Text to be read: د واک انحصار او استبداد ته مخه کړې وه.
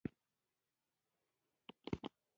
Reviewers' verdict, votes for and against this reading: rejected, 0, 2